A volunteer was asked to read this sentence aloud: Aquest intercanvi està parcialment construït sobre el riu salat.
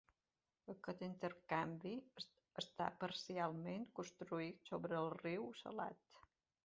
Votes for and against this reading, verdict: 2, 1, accepted